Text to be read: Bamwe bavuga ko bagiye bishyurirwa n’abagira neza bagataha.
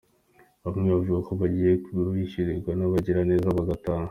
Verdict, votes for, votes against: accepted, 2, 1